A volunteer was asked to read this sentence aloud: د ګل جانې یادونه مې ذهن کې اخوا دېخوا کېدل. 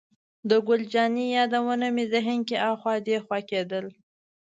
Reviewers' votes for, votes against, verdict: 2, 0, accepted